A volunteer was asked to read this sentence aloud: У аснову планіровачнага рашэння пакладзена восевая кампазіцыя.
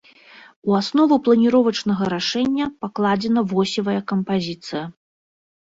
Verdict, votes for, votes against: accepted, 2, 0